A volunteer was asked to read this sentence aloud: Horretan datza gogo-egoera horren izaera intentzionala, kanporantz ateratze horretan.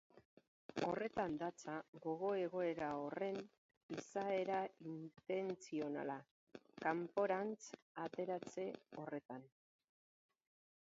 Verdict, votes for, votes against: accepted, 2, 0